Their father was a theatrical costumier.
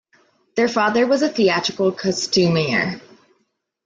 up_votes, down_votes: 2, 0